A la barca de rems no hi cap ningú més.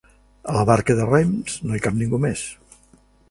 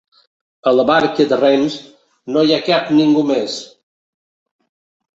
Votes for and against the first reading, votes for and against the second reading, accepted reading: 4, 0, 1, 6, first